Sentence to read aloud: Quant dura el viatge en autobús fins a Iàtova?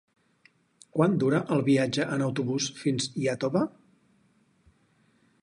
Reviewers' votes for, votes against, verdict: 2, 6, rejected